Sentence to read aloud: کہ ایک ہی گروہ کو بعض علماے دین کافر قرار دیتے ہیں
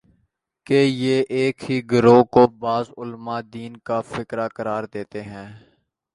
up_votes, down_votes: 0, 2